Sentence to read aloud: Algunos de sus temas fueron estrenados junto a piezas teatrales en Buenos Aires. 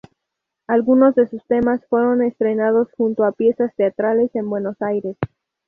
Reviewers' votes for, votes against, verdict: 2, 0, accepted